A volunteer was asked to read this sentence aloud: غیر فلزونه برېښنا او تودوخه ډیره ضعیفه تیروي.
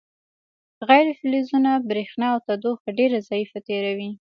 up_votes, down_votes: 2, 0